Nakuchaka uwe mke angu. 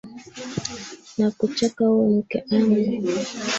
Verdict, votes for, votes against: rejected, 2, 3